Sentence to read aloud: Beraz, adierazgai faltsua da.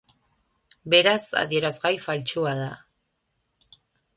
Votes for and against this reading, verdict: 2, 0, accepted